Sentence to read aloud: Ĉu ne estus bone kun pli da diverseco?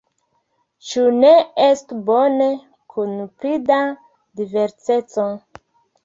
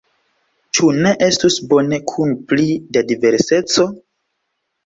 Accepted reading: second